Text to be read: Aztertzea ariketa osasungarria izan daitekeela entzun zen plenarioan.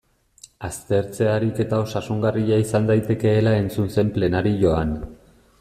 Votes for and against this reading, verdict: 2, 0, accepted